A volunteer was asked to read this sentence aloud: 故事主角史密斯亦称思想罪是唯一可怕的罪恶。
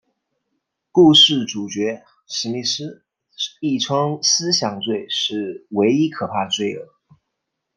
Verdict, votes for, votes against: rejected, 1, 2